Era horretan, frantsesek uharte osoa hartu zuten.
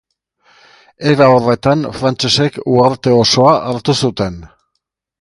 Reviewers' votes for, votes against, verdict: 2, 0, accepted